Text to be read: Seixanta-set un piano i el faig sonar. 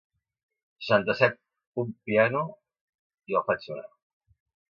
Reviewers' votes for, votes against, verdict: 1, 2, rejected